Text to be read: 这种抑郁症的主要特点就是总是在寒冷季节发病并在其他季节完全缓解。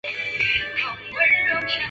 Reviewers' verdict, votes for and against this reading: rejected, 0, 2